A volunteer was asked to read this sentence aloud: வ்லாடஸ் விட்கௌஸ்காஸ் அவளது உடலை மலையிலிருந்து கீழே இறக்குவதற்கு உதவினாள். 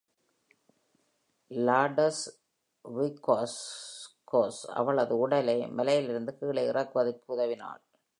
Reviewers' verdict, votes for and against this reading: accepted, 2, 0